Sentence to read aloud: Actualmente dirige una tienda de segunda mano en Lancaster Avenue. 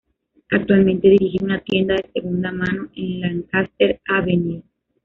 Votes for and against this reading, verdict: 0, 2, rejected